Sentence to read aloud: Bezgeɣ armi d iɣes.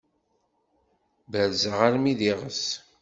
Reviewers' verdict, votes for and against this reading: rejected, 1, 2